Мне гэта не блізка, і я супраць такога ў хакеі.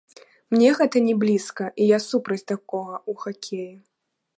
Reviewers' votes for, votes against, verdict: 2, 1, accepted